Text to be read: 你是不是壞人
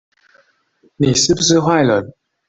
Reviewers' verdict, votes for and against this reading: accepted, 2, 0